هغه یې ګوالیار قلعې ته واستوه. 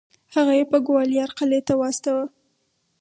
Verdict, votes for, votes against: accepted, 4, 2